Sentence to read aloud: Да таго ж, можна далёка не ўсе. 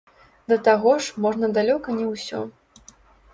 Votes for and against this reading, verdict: 0, 2, rejected